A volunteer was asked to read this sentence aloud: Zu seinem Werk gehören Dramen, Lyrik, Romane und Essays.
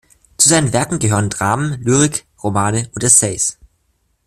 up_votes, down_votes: 2, 1